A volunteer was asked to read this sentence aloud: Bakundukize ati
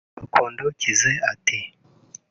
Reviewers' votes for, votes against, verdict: 2, 0, accepted